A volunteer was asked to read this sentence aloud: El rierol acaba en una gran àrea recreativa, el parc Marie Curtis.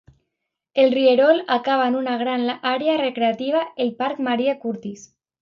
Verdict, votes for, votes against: accepted, 2, 1